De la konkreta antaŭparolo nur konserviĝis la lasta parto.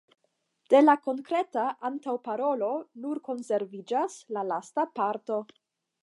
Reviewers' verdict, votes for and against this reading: rejected, 0, 5